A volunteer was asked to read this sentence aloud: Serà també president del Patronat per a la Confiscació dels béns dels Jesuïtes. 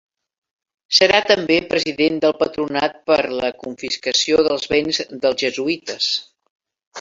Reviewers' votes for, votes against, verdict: 1, 2, rejected